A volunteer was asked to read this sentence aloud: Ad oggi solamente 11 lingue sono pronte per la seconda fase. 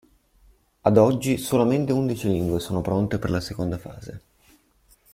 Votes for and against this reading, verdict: 0, 2, rejected